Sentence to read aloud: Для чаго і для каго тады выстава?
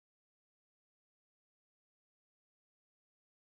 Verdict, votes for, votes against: rejected, 1, 2